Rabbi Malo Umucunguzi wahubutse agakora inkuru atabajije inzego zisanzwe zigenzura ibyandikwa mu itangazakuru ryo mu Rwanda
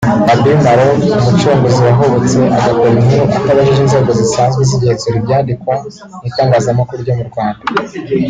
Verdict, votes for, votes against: accepted, 3, 0